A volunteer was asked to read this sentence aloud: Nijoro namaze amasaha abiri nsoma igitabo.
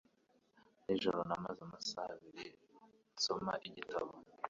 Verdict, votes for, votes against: accepted, 2, 1